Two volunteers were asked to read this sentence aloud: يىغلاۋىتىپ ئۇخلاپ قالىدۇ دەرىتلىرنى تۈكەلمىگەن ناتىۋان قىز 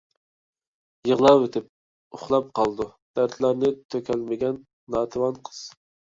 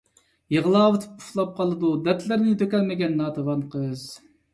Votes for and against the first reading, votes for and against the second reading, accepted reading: 1, 2, 2, 1, second